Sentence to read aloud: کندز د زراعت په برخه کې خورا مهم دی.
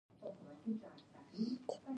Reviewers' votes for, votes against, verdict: 1, 2, rejected